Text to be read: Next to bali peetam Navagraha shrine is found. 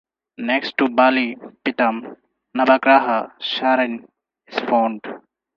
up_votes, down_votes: 4, 2